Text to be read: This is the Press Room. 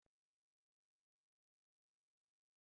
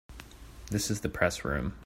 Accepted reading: second